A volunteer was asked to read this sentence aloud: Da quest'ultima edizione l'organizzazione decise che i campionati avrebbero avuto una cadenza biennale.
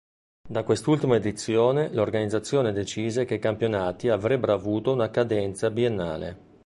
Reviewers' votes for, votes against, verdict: 3, 1, accepted